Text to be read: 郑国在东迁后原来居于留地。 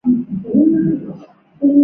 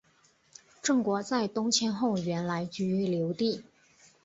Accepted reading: second